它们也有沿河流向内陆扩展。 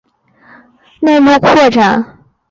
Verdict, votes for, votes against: rejected, 1, 2